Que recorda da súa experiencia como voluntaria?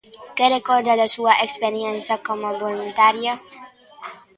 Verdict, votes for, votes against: accepted, 2, 1